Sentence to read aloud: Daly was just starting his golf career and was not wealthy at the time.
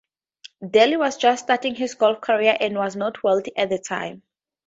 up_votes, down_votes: 2, 0